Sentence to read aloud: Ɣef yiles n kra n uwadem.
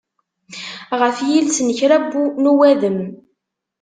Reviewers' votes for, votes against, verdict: 1, 2, rejected